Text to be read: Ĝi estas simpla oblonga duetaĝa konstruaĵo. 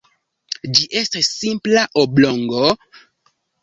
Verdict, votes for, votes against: rejected, 0, 3